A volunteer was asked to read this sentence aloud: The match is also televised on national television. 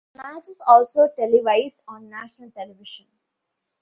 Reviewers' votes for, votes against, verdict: 1, 2, rejected